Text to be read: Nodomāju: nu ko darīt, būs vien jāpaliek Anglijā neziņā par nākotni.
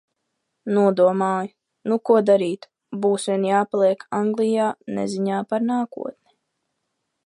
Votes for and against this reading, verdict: 2, 1, accepted